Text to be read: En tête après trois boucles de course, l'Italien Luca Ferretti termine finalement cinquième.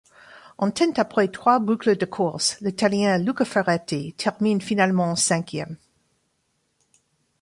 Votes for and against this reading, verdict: 1, 2, rejected